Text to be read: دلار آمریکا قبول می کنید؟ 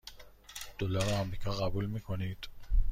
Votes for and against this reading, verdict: 2, 0, accepted